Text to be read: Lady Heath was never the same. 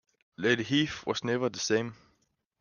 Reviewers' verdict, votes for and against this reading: accepted, 2, 0